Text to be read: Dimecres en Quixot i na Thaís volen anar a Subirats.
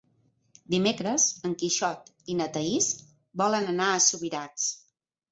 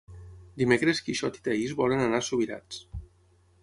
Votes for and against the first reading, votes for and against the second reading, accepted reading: 3, 0, 3, 6, first